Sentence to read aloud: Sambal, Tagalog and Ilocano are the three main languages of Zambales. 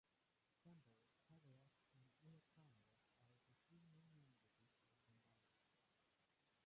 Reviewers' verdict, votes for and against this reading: rejected, 0, 2